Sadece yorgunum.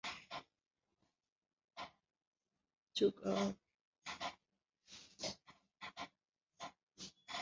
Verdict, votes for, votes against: rejected, 0, 2